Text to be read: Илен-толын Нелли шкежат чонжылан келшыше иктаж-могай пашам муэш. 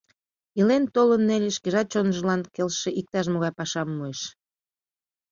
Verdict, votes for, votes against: accepted, 2, 0